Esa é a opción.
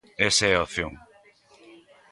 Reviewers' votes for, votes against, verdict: 2, 1, accepted